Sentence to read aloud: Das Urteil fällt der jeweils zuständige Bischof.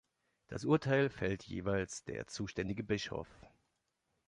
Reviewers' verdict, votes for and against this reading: rejected, 0, 2